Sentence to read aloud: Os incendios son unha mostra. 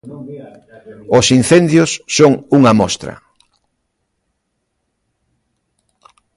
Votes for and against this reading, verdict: 1, 2, rejected